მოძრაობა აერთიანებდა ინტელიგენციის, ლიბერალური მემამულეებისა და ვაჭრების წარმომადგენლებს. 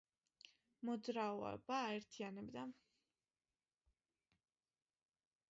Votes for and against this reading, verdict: 0, 2, rejected